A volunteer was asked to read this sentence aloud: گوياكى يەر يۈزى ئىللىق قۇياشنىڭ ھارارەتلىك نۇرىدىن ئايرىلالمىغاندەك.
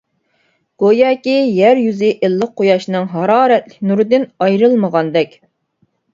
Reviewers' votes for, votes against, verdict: 1, 2, rejected